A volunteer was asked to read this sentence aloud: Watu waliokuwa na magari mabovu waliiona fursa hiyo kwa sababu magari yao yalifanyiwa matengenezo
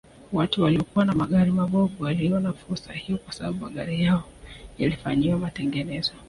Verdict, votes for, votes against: rejected, 1, 2